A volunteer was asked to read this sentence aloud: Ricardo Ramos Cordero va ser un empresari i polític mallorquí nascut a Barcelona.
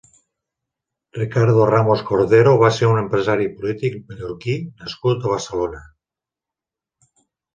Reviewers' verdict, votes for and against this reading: rejected, 1, 2